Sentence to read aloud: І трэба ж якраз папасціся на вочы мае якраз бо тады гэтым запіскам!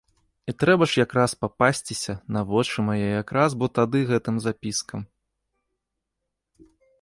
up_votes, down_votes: 3, 0